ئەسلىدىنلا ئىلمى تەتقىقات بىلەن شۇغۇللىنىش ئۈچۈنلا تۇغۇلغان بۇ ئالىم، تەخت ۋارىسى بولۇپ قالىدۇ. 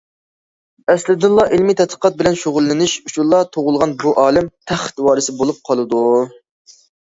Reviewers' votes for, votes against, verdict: 2, 0, accepted